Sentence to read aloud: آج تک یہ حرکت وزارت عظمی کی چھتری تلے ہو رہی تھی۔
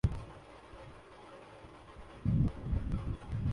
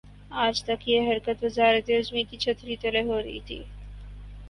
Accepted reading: second